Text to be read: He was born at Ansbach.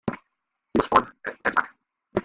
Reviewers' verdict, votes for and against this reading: rejected, 0, 2